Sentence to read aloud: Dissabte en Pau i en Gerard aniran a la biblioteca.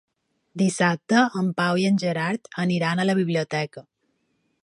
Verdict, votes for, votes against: accepted, 3, 0